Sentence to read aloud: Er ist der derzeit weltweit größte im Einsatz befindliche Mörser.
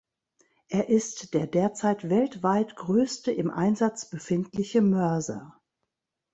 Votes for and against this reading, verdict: 2, 0, accepted